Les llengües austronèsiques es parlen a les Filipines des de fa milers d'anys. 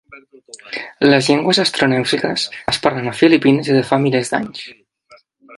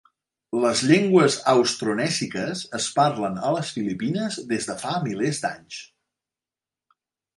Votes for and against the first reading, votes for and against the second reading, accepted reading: 0, 2, 3, 1, second